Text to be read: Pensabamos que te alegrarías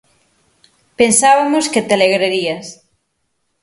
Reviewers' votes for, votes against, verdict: 0, 6, rejected